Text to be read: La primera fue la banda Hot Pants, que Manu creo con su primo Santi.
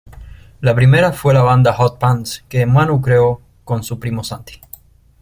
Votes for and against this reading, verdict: 2, 0, accepted